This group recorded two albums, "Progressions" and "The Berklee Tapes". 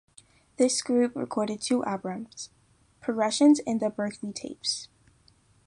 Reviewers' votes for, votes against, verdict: 0, 2, rejected